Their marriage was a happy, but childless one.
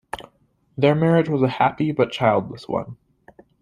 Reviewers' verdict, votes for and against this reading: accepted, 2, 0